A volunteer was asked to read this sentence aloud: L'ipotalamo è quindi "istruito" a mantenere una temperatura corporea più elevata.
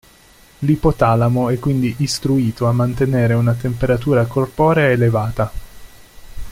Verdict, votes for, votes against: rejected, 0, 2